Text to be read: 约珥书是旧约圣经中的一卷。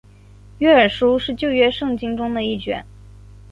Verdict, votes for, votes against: accepted, 3, 1